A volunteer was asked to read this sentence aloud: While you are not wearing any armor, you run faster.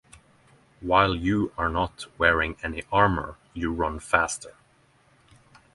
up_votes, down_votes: 3, 3